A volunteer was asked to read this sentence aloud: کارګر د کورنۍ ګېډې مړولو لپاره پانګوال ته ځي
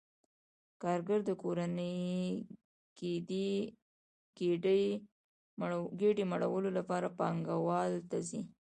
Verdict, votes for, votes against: rejected, 0, 2